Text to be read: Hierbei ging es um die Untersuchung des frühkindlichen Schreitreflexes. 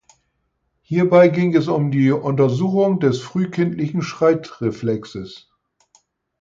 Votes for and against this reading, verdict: 4, 0, accepted